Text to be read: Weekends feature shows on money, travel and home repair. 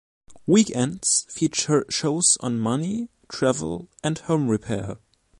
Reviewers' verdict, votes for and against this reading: accepted, 2, 0